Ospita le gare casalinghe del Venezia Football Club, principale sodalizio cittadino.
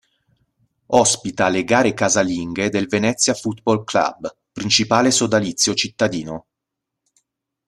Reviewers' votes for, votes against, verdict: 2, 0, accepted